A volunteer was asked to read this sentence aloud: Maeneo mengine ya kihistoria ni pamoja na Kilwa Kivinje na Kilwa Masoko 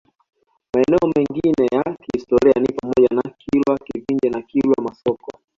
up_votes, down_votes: 1, 2